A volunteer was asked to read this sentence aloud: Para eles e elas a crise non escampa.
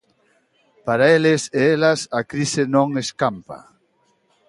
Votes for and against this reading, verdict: 2, 0, accepted